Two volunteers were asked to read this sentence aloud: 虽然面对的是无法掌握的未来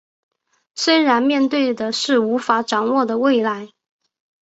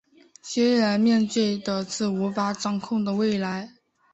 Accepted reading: first